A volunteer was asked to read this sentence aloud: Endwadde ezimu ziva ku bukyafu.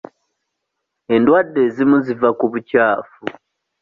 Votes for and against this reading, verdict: 2, 0, accepted